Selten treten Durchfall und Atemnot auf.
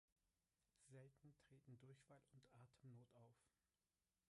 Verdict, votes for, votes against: rejected, 1, 2